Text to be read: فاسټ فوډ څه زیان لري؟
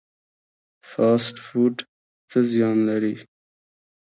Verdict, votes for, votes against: accepted, 2, 1